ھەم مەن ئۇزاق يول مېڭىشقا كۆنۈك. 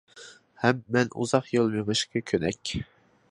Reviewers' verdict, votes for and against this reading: rejected, 0, 2